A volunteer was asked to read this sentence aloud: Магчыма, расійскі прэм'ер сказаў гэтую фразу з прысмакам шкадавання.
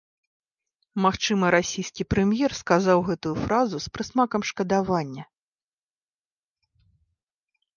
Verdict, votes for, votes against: accepted, 3, 0